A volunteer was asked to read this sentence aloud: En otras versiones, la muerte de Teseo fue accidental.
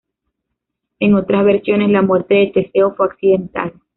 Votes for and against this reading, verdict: 1, 2, rejected